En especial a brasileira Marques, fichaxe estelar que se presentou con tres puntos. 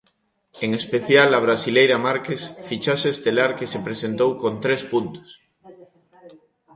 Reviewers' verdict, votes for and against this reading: rejected, 0, 2